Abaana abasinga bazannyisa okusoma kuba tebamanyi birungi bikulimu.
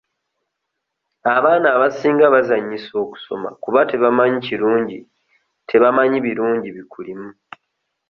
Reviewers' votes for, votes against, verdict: 0, 2, rejected